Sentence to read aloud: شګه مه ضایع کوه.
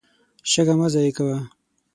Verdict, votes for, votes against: accepted, 6, 0